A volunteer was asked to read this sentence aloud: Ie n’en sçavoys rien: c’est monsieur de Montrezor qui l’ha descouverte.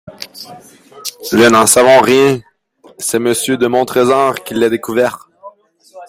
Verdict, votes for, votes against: rejected, 1, 2